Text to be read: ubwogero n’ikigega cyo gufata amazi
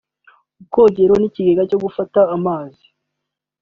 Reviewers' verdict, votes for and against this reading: accepted, 2, 1